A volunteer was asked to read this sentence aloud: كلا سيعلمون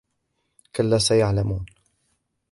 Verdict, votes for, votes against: rejected, 1, 2